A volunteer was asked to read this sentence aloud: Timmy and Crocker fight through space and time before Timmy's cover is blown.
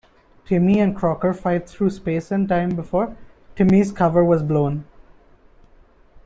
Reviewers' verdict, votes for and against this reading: rejected, 1, 2